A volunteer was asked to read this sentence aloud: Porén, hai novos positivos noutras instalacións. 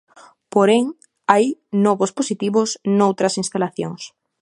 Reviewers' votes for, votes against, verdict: 2, 0, accepted